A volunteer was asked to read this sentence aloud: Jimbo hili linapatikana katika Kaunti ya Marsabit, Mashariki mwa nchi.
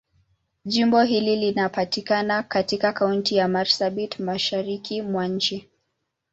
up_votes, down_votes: 2, 0